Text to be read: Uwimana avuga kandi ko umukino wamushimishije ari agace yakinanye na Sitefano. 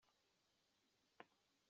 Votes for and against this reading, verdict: 0, 2, rejected